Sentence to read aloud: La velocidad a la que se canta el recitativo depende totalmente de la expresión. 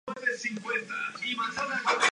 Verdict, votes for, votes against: rejected, 0, 2